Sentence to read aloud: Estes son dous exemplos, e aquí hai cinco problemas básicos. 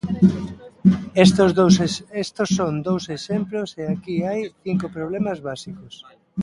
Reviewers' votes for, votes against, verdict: 0, 2, rejected